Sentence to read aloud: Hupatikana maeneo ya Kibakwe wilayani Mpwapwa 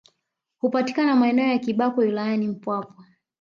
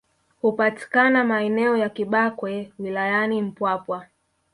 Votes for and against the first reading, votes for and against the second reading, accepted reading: 2, 0, 0, 2, first